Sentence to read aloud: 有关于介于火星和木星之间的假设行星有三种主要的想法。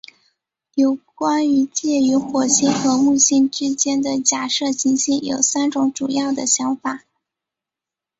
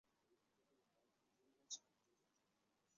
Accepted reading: first